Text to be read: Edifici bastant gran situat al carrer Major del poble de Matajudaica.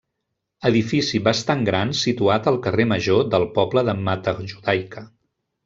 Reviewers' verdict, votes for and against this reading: rejected, 1, 2